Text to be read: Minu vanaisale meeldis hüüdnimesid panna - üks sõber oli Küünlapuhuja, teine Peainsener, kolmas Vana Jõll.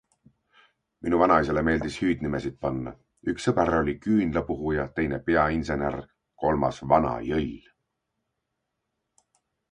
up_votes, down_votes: 2, 0